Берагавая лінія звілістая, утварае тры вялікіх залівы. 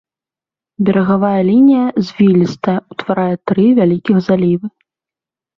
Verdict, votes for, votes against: accepted, 2, 0